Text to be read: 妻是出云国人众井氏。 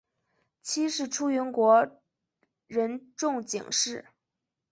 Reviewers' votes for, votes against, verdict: 2, 0, accepted